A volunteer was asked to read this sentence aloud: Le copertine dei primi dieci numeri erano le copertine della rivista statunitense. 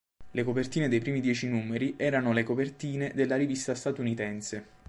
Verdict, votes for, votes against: accepted, 2, 0